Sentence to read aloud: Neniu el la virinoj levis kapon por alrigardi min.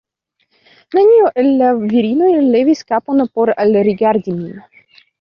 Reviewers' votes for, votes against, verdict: 0, 2, rejected